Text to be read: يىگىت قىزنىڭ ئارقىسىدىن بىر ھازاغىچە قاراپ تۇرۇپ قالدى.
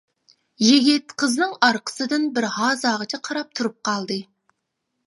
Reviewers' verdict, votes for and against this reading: accepted, 2, 0